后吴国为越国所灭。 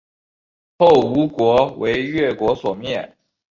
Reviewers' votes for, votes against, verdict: 0, 2, rejected